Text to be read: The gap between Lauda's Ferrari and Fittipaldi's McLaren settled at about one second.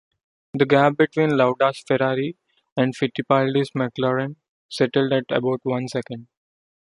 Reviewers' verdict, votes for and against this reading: accepted, 2, 0